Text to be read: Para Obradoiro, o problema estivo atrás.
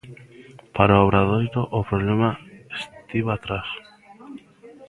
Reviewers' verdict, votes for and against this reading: rejected, 1, 2